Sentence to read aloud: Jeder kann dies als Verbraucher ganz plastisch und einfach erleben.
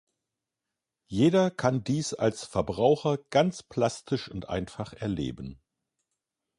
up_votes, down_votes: 2, 0